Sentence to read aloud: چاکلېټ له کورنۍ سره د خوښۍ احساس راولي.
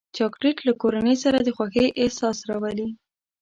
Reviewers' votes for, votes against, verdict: 2, 1, accepted